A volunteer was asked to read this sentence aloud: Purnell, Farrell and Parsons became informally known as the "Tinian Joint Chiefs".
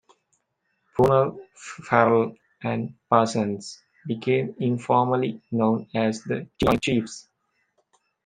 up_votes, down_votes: 1, 2